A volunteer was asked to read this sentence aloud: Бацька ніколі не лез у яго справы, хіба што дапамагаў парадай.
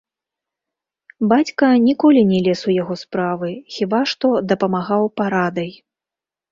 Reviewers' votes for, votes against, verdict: 1, 2, rejected